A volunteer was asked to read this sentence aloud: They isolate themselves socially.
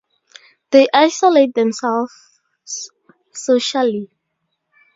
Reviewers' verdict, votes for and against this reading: accepted, 4, 0